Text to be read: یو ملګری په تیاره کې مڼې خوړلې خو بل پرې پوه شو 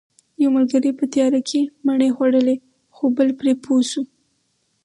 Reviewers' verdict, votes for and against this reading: accepted, 4, 0